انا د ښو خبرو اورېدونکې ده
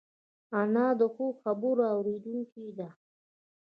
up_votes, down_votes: 1, 2